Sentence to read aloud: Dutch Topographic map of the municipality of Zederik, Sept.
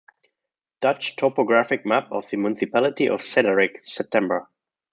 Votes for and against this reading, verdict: 0, 2, rejected